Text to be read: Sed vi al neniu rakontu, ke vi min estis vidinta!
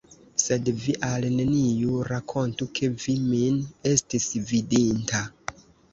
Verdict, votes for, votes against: rejected, 1, 2